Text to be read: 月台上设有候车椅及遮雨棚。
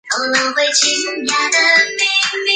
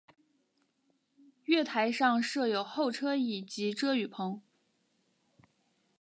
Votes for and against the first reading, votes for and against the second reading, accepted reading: 0, 3, 2, 0, second